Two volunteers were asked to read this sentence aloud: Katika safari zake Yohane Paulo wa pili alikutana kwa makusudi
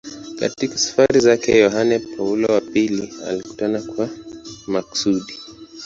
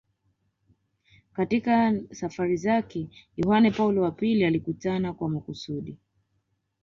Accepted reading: second